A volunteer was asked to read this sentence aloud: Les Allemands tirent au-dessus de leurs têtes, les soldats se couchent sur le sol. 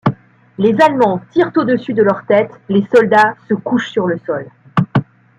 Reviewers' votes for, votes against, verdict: 2, 0, accepted